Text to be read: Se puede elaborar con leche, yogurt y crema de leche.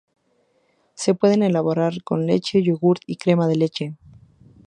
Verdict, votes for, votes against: rejected, 0, 2